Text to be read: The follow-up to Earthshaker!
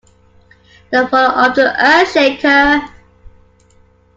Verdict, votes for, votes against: accepted, 2, 1